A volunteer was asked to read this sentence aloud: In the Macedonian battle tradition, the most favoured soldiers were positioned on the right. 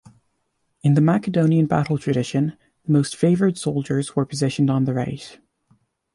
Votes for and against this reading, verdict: 1, 2, rejected